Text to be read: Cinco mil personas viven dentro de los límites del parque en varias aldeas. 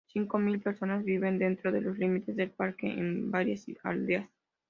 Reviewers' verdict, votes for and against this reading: accepted, 2, 0